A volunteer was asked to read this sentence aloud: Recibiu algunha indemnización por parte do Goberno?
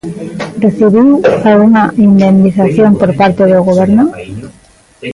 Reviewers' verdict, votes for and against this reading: accepted, 2, 1